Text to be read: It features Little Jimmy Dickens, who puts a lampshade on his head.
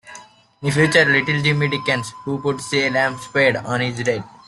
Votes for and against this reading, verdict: 0, 2, rejected